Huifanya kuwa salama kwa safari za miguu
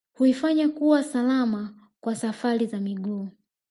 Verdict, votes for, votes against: accepted, 2, 1